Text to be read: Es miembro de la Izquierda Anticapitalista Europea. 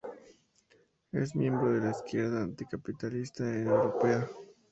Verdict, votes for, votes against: accepted, 2, 0